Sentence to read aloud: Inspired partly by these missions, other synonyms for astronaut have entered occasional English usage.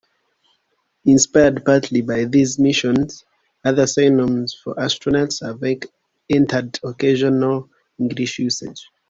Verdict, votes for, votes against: rejected, 0, 2